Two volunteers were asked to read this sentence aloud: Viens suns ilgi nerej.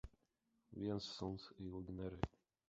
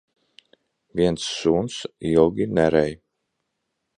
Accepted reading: second